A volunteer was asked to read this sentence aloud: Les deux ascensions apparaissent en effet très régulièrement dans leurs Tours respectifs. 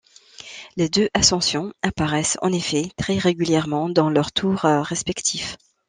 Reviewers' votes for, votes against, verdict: 1, 2, rejected